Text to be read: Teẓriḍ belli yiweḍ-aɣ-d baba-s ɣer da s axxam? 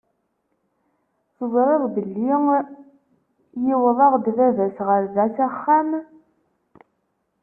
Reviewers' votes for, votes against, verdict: 1, 2, rejected